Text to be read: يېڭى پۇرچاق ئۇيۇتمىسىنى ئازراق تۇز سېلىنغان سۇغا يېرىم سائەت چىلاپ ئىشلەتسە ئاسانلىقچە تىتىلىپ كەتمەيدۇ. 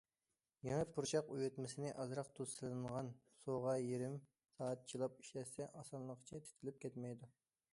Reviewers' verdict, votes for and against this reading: accepted, 2, 0